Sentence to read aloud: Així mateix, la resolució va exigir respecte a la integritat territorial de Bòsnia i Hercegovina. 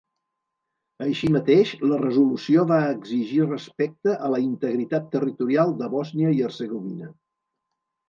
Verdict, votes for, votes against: accepted, 3, 0